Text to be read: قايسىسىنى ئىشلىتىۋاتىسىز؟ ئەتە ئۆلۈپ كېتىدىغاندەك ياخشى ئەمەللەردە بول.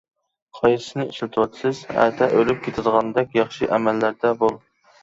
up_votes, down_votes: 2, 0